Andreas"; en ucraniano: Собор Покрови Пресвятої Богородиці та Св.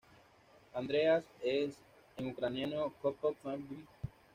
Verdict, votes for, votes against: rejected, 1, 2